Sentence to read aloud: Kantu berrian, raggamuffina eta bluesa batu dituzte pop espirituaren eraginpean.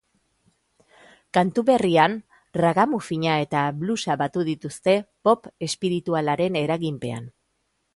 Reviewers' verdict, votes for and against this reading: rejected, 2, 3